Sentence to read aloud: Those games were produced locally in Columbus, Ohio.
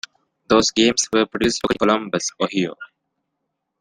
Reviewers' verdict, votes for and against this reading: rejected, 0, 2